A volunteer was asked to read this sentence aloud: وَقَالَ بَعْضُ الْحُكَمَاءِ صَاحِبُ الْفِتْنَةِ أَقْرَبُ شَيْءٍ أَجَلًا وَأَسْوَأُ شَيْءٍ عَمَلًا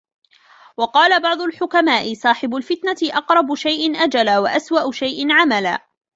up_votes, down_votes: 1, 2